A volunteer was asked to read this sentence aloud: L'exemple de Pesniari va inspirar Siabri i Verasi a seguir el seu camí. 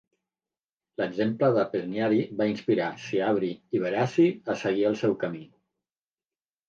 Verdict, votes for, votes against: rejected, 1, 2